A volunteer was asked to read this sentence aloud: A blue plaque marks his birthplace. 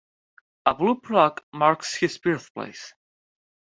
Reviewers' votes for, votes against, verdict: 2, 0, accepted